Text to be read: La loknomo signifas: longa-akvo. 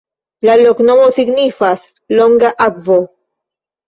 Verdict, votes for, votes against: accepted, 2, 0